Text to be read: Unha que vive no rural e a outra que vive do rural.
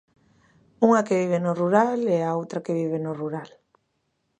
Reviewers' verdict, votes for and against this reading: rejected, 0, 2